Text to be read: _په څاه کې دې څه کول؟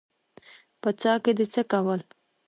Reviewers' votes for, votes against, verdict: 1, 2, rejected